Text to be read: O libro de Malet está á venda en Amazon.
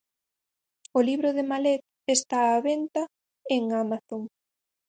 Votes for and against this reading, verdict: 0, 4, rejected